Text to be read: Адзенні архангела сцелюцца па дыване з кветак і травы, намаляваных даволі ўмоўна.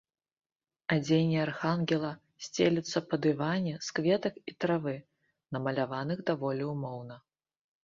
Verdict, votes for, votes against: rejected, 1, 2